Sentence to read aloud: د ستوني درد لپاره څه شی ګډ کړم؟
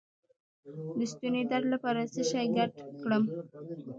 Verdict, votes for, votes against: rejected, 1, 2